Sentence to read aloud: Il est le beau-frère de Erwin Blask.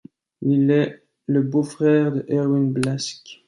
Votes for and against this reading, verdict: 2, 0, accepted